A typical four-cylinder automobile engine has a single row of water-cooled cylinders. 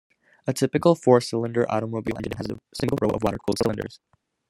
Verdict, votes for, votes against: rejected, 1, 2